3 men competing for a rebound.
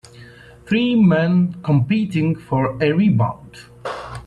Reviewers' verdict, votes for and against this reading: rejected, 0, 2